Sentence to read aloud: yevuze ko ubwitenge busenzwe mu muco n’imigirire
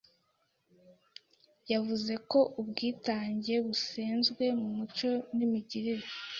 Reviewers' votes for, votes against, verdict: 0, 2, rejected